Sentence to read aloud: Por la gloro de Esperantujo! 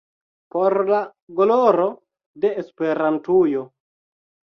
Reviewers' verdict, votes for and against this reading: accepted, 3, 1